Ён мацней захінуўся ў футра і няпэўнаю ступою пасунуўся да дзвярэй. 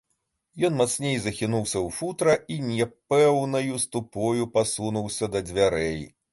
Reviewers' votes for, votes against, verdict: 2, 0, accepted